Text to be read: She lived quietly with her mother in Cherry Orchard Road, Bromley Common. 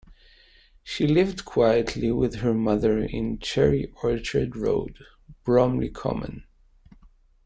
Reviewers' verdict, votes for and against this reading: accepted, 2, 1